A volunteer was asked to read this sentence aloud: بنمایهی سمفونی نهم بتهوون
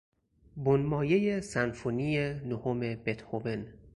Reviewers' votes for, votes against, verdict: 4, 0, accepted